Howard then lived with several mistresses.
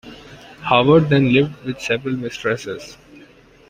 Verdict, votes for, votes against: accepted, 2, 1